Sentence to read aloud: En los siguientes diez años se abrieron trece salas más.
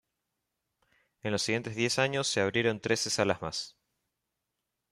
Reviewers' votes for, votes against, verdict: 2, 1, accepted